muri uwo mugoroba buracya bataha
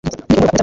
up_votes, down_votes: 1, 2